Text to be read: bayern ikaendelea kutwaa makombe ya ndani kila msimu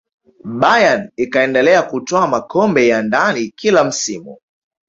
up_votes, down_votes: 0, 2